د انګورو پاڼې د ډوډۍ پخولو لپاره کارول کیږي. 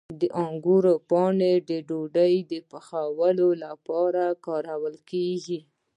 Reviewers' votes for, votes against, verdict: 1, 2, rejected